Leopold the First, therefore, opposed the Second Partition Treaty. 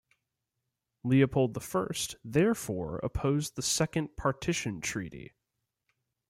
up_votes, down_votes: 0, 2